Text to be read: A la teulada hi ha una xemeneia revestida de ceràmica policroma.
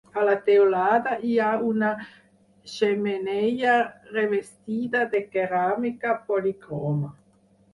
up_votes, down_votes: 2, 4